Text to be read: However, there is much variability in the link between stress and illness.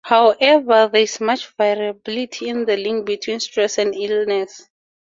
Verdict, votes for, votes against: accepted, 4, 0